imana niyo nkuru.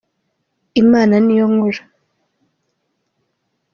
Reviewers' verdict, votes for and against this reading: accepted, 2, 0